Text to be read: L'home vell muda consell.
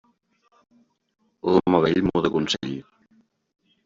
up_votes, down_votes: 1, 2